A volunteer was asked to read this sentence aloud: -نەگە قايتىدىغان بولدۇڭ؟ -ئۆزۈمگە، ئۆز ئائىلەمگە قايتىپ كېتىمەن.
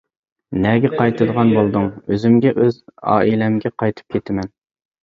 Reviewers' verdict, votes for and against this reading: accepted, 2, 0